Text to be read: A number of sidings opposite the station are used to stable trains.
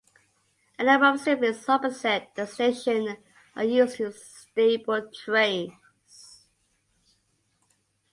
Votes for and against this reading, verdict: 1, 3, rejected